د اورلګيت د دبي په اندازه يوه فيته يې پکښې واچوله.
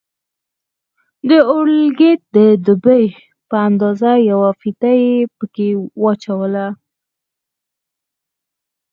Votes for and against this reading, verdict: 4, 0, accepted